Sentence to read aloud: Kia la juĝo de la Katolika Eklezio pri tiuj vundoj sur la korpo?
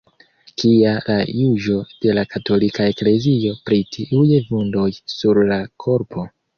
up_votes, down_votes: 1, 2